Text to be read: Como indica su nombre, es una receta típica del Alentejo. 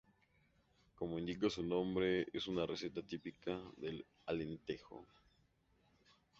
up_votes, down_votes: 2, 0